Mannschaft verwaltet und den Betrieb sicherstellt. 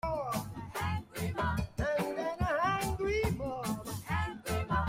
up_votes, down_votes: 0, 2